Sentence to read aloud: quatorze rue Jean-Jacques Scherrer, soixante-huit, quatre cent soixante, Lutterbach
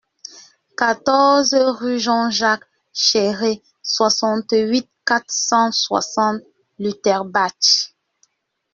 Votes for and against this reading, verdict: 0, 2, rejected